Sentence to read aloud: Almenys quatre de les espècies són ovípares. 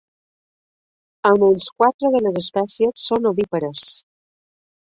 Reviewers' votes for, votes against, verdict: 1, 2, rejected